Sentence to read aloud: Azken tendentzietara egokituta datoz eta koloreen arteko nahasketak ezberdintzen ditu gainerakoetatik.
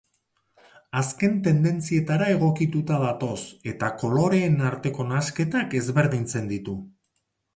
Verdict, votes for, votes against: accepted, 2, 0